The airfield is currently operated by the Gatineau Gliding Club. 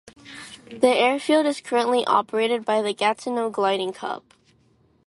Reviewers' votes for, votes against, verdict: 2, 0, accepted